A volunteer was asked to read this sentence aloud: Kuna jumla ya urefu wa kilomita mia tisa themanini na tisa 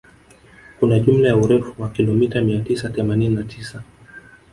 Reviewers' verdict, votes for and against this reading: rejected, 1, 2